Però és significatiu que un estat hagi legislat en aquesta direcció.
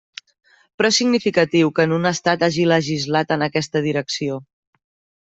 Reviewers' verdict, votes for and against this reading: rejected, 0, 2